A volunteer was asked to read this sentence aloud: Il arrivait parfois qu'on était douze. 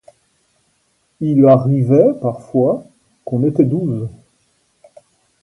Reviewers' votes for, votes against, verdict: 1, 2, rejected